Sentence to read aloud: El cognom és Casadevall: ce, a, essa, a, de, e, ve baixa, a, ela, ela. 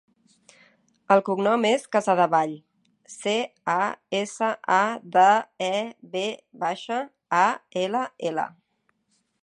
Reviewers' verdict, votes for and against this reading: accepted, 2, 1